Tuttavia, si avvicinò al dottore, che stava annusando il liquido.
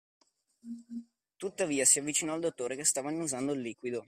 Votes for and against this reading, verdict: 2, 0, accepted